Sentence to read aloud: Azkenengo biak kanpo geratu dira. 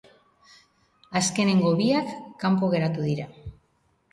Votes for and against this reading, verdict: 2, 0, accepted